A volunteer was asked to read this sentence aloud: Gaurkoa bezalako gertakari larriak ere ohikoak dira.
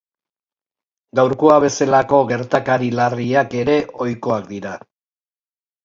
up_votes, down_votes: 4, 0